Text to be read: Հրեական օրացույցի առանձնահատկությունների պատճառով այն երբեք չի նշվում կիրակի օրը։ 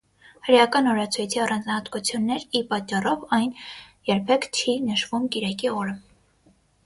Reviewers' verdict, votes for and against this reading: rejected, 3, 6